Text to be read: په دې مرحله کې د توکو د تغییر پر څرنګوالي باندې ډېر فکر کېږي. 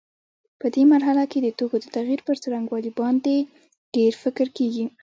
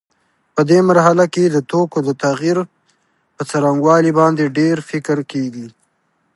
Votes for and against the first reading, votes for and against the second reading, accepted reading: 1, 2, 2, 0, second